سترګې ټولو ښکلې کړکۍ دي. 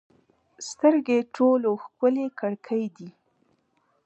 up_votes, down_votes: 2, 0